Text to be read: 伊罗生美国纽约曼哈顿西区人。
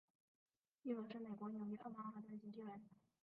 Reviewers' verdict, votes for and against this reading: rejected, 2, 5